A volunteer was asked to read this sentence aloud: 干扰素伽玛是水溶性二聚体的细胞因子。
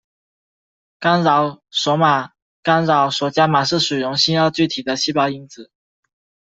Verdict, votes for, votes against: rejected, 0, 2